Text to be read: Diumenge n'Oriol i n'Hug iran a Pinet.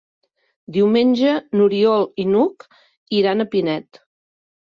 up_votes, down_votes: 3, 0